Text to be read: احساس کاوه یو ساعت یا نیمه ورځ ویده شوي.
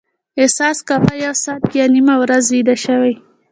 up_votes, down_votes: 2, 0